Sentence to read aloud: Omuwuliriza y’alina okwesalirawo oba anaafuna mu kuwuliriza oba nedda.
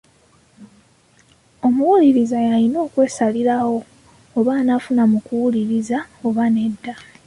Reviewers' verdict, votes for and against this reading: rejected, 1, 2